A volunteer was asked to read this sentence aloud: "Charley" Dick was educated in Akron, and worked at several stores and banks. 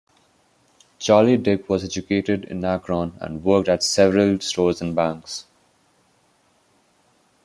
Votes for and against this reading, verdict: 3, 0, accepted